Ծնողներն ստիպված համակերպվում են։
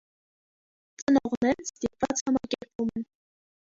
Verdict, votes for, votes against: rejected, 0, 2